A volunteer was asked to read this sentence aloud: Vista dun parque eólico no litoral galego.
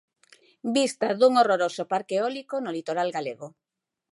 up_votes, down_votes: 0, 2